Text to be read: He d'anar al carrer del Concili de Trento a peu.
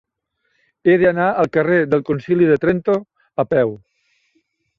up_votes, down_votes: 3, 0